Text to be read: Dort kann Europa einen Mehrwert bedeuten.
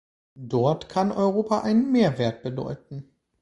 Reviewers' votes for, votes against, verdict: 2, 1, accepted